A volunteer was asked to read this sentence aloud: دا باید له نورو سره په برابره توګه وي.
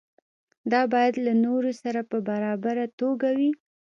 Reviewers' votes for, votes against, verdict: 2, 0, accepted